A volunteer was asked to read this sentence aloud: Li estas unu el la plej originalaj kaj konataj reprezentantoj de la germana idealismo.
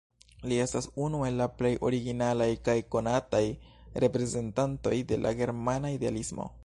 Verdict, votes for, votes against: accepted, 2, 1